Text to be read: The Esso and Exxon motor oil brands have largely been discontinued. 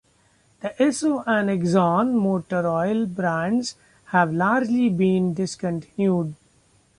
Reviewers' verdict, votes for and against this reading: rejected, 0, 2